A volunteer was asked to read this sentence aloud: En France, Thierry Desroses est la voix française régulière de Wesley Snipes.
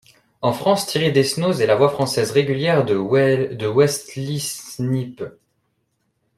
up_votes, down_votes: 0, 2